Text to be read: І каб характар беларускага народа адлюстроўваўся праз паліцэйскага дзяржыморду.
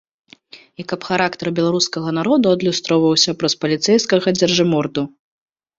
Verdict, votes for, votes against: rejected, 1, 2